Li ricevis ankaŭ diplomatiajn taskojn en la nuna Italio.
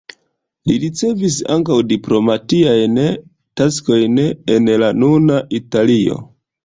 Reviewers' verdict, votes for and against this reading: accepted, 2, 1